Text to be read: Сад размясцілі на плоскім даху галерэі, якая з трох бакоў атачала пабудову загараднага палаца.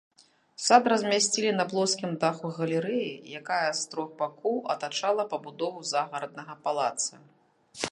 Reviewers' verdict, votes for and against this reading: accepted, 2, 0